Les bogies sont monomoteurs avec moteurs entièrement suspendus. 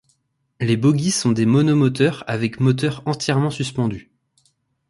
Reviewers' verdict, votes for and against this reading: rejected, 0, 2